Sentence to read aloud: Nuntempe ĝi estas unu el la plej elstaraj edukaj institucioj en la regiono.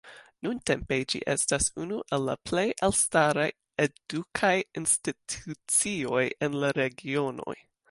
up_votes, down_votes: 2, 1